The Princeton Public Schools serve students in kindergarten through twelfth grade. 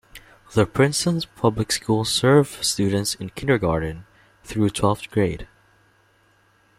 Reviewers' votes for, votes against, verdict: 1, 2, rejected